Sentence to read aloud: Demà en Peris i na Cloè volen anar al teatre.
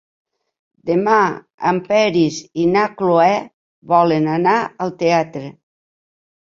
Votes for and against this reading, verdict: 3, 0, accepted